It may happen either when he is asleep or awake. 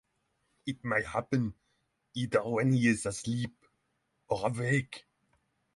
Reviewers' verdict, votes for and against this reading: rejected, 3, 3